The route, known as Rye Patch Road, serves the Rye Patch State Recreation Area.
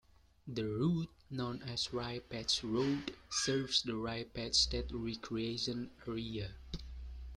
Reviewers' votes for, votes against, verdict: 2, 1, accepted